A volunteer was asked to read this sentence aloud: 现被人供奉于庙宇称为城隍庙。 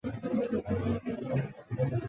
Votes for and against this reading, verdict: 0, 3, rejected